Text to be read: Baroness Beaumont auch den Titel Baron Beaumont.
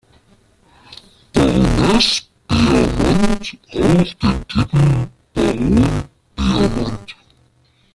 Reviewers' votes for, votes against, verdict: 0, 2, rejected